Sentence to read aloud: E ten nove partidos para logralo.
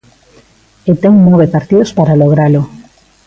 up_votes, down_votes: 2, 0